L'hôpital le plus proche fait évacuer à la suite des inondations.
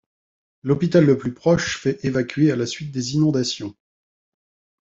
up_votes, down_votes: 2, 0